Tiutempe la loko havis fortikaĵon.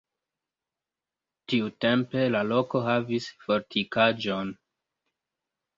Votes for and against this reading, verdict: 2, 1, accepted